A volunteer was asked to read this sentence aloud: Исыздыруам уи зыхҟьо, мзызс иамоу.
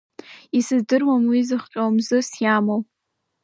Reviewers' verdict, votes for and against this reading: accepted, 2, 0